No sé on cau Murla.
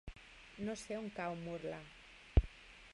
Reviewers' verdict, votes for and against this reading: accepted, 3, 1